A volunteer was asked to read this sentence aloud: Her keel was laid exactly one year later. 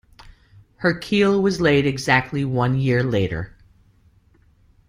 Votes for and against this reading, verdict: 3, 0, accepted